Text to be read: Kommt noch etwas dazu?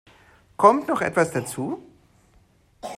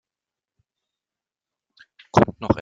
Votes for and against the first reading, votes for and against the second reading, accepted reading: 2, 0, 0, 2, first